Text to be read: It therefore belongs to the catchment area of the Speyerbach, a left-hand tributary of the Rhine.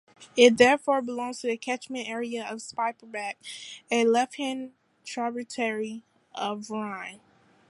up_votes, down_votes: 0, 2